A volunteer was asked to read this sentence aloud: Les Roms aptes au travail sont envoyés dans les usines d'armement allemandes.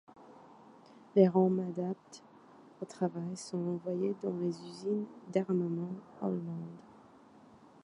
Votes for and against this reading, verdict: 1, 2, rejected